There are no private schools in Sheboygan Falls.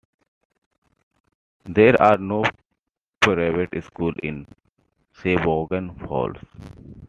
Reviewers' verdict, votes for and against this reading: accepted, 2, 1